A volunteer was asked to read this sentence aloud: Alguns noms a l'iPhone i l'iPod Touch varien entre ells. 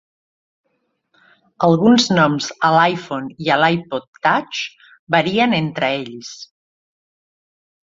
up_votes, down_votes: 2, 0